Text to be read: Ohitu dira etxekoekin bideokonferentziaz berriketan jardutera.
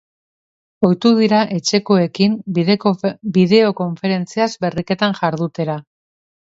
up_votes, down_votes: 1, 2